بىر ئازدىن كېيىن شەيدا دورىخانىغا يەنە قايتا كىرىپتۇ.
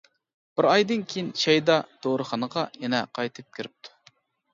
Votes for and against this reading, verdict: 1, 2, rejected